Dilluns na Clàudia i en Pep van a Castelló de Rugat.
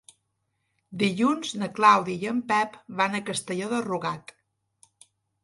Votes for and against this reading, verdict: 4, 0, accepted